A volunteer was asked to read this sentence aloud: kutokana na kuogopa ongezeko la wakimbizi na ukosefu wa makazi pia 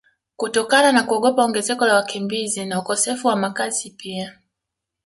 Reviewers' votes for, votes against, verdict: 2, 0, accepted